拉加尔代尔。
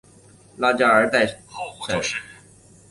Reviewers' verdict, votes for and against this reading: rejected, 1, 2